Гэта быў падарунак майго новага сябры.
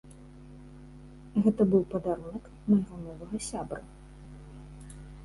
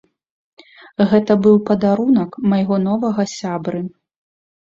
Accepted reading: second